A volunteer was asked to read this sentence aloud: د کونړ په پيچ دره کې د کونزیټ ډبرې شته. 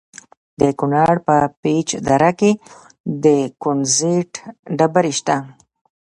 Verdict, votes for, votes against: rejected, 1, 2